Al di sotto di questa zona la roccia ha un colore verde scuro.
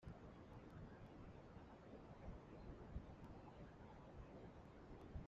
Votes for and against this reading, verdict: 0, 2, rejected